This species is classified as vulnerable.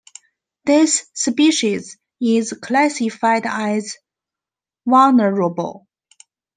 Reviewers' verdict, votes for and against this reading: accepted, 2, 0